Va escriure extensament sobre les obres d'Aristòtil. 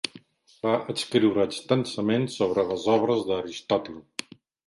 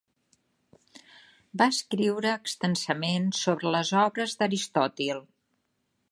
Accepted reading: second